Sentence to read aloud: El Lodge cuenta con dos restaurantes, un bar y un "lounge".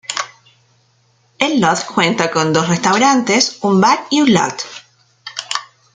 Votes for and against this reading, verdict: 0, 2, rejected